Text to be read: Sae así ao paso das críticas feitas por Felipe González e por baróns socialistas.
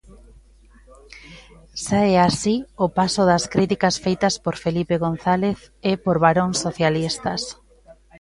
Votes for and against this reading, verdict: 0, 2, rejected